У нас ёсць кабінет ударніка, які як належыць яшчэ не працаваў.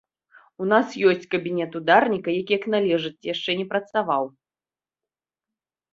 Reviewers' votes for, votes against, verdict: 2, 0, accepted